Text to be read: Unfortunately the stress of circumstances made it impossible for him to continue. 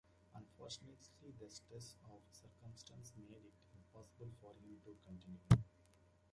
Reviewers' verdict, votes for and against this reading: rejected, 0, 2